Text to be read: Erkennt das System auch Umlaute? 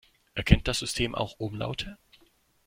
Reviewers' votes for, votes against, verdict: 2, 0, accepted